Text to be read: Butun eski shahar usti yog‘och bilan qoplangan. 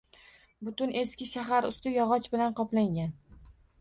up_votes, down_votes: 2, 0